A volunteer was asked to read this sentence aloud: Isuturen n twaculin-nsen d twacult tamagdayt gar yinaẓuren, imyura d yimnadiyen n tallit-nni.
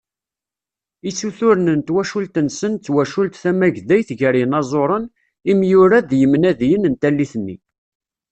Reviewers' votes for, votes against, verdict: 0, 2, rejected